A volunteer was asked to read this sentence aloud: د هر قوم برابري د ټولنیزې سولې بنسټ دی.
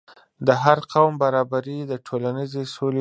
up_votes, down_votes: 0, 2